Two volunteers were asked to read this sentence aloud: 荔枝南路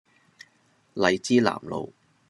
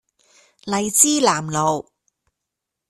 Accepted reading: first